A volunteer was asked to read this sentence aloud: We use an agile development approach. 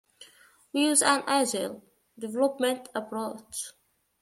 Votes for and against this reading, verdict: 1, 2, rejected